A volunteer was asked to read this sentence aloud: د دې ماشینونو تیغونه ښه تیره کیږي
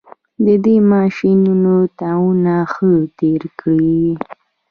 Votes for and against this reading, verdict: 0, 2, rejected